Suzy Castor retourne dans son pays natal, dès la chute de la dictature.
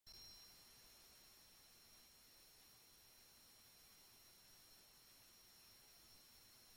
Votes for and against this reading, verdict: 0, 2, rejected